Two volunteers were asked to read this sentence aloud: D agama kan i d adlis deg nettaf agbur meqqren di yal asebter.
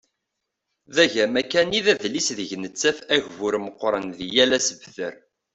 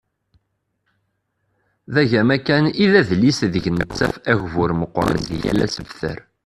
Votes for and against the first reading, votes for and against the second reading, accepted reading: 2, 0, 0, 2, first